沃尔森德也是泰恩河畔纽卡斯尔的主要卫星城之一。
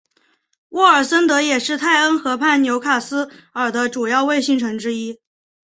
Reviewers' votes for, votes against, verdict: 2, 0, accepted